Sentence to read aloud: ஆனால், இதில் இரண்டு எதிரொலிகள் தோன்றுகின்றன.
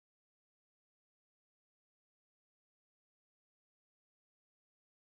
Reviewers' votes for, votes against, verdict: 0, 2, rejected